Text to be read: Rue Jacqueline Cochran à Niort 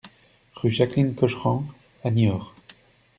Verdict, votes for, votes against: accepted, 2, 0